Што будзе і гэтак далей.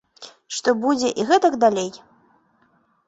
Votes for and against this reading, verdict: 2, 0, accepted